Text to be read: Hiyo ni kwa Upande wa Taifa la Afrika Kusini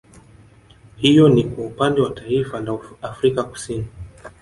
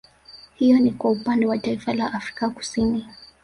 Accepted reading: second